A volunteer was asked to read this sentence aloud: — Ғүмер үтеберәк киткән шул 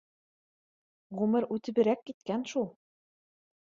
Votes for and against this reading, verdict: 2, 0, accepted